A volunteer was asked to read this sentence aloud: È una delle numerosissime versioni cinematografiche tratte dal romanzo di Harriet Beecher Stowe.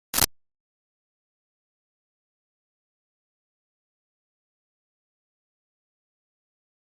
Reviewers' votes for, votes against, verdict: 0, 2, rejected